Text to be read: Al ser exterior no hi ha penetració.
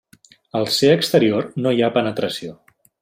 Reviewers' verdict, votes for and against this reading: accepted, 2, 0